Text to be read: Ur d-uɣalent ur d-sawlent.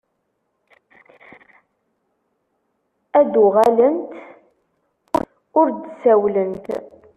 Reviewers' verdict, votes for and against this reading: rejected, 0, 2